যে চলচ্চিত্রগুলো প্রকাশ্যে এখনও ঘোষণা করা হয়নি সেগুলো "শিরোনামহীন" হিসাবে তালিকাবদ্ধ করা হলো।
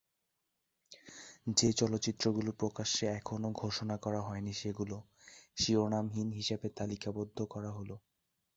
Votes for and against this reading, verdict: 3, 0, accepted